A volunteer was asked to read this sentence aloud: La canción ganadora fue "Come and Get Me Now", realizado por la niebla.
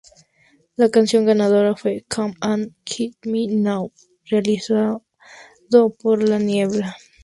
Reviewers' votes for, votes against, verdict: 2, 0, accepted